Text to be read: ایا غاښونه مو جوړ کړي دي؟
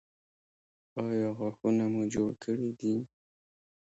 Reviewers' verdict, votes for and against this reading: rejected, 0, 2